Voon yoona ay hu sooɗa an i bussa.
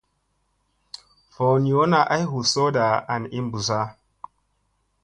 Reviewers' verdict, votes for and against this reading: accepted, 2, 0